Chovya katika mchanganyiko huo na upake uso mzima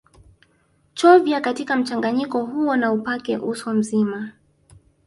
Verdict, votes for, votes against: accepted, 2, 0